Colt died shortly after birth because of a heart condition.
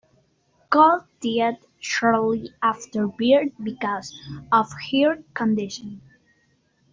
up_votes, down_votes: 0, 2